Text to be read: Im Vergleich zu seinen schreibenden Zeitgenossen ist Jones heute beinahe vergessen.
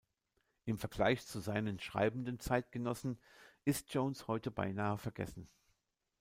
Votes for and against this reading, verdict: 2, 0, accepted